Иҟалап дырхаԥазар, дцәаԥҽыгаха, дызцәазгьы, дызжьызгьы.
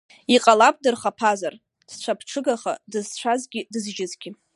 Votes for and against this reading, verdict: 1, 2, rejected